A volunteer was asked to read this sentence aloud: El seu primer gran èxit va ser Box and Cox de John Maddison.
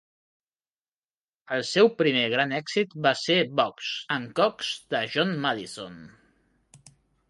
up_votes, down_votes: 2, 0